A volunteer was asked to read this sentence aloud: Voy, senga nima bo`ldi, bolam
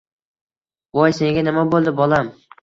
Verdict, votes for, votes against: accepted, 2, 0